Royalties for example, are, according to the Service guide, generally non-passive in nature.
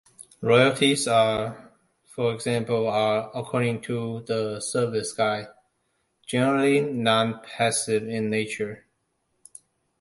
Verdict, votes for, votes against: rejected, 1, 2